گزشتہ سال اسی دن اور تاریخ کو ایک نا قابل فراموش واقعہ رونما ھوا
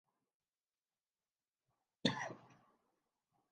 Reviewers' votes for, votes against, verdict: 4, 12, rejected